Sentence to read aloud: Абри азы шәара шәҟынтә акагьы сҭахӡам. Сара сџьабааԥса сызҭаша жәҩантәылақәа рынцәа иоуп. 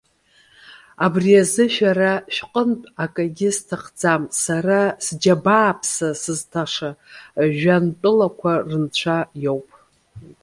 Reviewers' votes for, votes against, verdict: 2, 0, accepted